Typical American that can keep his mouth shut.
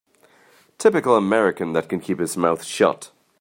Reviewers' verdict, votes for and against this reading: accepted, 2, 0